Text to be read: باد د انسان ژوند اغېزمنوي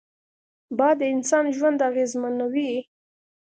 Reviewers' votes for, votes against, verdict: 2, 0, accepted